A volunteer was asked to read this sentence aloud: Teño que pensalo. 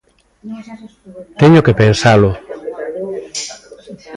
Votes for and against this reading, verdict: 1, 2, rejected